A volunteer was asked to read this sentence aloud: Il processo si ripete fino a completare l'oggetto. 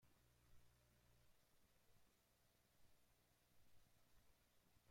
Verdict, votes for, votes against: rejected, 0, 2